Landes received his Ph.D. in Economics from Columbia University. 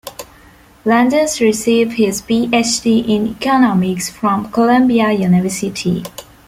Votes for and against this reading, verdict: 1, 2, rejected